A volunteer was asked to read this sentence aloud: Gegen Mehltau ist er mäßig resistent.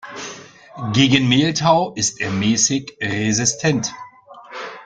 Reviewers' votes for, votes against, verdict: 2, 0, accepted